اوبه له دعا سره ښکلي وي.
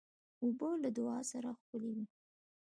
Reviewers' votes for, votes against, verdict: 2, 0, accepted